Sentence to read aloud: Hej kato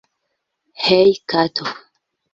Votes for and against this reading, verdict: 2, 0, accepted